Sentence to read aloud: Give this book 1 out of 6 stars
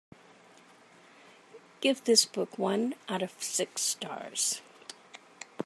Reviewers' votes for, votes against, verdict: 0, 2, rejected